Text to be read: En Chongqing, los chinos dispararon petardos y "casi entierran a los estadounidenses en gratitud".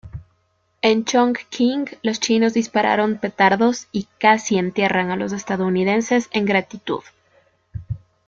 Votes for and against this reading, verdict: 2, 0, accepted